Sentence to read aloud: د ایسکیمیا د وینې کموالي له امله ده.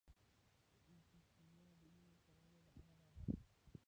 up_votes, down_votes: 0, 2